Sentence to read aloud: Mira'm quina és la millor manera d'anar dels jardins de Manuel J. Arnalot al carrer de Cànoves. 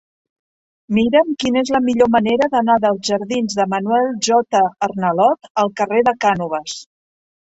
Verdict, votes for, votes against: accepted, 2, 1